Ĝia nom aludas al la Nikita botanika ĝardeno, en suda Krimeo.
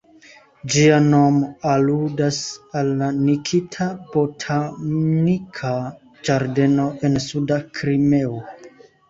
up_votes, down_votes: 2, 0